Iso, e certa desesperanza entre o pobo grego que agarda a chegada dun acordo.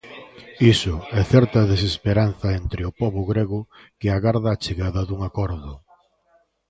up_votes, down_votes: 2, 0